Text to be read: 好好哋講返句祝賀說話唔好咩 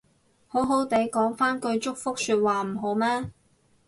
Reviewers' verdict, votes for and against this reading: rejected, 2, 6